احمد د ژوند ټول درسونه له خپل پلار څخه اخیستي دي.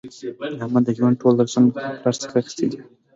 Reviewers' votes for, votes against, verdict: 0, 3, rejected